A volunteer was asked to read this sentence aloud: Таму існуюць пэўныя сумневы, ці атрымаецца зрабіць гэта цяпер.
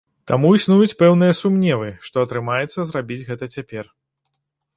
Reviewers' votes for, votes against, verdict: 0, 2, rejected